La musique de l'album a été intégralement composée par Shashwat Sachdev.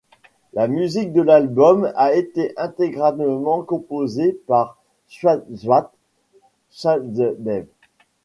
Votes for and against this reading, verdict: 1, 2, rejected